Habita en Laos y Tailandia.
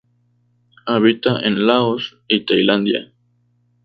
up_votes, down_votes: 2, 2